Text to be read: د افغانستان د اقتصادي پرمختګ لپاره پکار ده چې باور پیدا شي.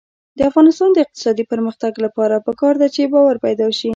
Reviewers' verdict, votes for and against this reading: rejected, 0, 2